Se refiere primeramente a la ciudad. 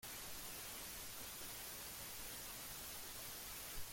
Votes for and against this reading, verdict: 0, 2, rejected